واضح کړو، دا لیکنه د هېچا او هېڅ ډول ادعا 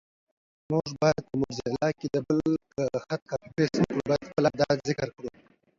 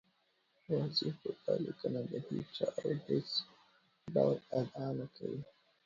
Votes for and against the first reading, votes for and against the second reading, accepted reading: 0, 2, 2, 1, second